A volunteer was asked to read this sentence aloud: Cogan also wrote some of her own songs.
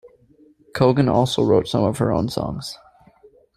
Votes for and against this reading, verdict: 2, 0, accepted